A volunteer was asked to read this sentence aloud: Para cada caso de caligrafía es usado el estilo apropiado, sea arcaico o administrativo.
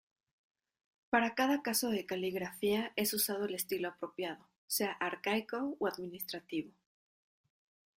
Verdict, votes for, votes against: accepted, 2, 0